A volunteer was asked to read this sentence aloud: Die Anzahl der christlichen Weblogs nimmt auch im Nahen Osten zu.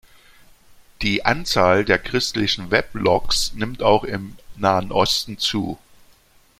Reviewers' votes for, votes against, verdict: 2, 0, accepted